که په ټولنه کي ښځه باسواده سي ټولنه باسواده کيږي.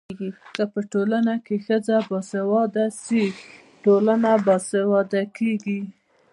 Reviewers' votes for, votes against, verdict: 1, 2, rejected